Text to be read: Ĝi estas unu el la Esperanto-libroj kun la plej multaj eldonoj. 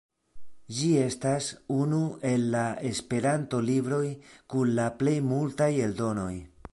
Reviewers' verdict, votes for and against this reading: accepted, 2, 0